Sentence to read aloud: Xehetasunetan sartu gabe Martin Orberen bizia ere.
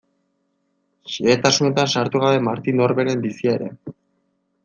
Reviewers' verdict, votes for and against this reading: accepted, 2, 0